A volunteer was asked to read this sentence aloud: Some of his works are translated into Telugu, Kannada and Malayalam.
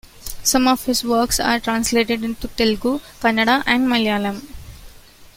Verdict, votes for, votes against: accepted, 2, 0